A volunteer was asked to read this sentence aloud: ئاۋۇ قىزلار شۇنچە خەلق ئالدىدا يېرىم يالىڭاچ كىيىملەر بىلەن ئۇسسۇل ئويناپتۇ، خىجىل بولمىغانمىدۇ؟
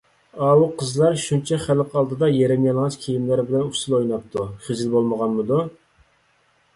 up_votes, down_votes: 2, 0